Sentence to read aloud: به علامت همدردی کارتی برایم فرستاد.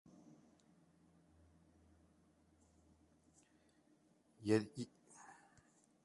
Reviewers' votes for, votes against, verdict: 0, 2, rejected